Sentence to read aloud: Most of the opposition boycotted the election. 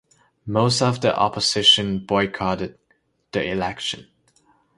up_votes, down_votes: 2, 0